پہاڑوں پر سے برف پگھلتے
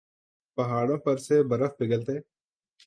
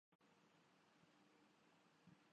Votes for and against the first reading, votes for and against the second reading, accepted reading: 2, 0, 0, 2, first